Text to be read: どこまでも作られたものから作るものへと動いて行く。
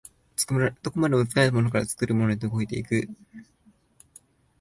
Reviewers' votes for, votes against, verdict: 1, 2, rejected